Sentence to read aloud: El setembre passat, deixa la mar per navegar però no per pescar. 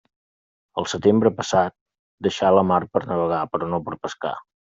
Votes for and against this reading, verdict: 2, 0, accepted